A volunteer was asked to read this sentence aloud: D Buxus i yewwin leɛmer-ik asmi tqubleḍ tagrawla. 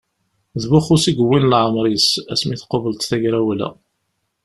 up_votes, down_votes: 1, 2